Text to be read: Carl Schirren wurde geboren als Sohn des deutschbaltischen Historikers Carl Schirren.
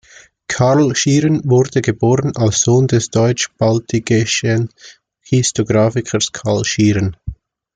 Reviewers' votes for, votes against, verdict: 0, 2, rejected